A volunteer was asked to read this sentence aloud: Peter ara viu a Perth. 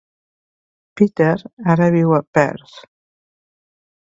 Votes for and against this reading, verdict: 2, 0, accepted